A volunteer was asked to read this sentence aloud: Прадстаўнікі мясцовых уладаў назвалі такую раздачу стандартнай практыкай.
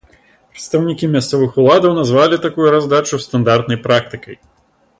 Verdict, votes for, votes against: accepted, 2, 1